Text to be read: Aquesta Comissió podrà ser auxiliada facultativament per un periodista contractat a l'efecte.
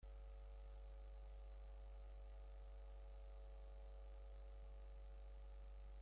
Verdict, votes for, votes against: rejected, 0, 2